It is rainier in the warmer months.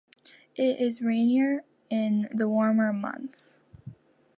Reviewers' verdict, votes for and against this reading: accepted, 2, 0